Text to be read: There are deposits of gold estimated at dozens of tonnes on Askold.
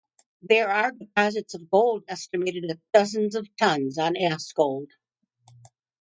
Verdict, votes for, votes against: rejected, 0, 2